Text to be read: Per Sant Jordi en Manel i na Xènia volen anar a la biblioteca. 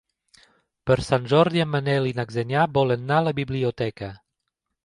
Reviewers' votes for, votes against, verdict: 1, 3, rejected